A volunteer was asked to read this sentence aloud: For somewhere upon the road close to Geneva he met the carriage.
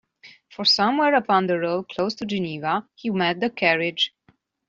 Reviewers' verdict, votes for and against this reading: accepted, 2, 0